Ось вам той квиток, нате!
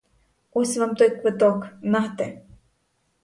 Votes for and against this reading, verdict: 0, 2, rejected